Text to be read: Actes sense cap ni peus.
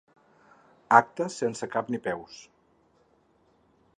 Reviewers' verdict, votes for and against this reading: accepted, 6, 0